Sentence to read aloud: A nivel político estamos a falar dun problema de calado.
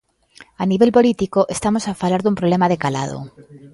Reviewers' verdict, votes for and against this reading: accepted, 2, 0